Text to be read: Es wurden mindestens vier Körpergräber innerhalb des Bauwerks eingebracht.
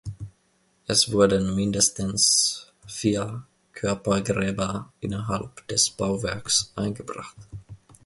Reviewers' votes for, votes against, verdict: 2, 0, accepted